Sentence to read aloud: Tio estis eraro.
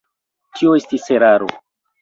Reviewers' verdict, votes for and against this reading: accepted, 2, 0